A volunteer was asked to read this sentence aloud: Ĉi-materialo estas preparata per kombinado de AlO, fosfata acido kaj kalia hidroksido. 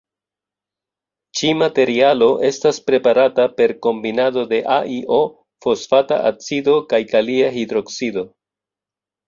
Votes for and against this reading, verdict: 2, 0, accepted